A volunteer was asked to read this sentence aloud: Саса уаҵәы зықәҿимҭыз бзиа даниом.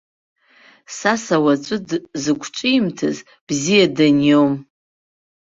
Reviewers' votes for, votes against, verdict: 1, 2, rejected